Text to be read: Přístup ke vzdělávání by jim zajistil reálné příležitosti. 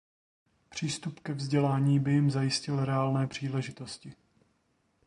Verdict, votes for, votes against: rejected, 1, 2